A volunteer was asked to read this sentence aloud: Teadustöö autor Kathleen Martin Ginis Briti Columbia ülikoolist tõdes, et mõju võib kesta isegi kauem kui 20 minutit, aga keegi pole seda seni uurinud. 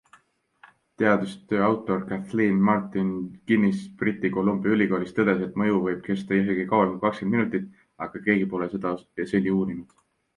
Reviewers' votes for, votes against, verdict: 0, 2, rejected